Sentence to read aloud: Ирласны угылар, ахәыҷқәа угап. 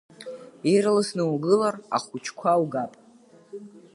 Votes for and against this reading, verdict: 2, 0, accepted